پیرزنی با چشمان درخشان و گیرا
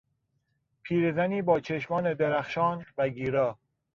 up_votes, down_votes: 2, 0